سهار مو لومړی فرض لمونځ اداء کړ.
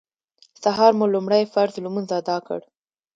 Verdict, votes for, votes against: accepted, 2, 0